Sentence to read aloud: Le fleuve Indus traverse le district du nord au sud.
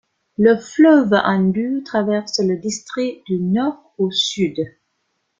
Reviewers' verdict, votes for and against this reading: accepted, 2, 0